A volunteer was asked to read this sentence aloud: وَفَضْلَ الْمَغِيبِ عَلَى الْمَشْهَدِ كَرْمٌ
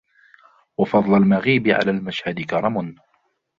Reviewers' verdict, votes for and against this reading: rejected, 1, 2